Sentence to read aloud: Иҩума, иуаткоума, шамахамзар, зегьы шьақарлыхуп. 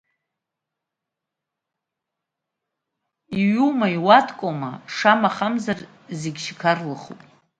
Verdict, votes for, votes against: rejected, 1, 2